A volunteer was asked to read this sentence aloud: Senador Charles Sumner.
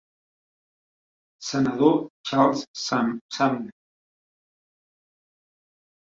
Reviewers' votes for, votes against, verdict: 1, 2, rejected